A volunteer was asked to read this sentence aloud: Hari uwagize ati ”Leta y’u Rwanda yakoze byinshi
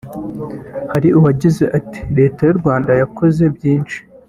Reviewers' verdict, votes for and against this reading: accepted, 2, 0